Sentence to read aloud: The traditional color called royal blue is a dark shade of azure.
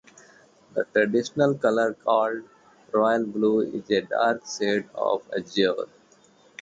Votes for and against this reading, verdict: 0, 2, rejected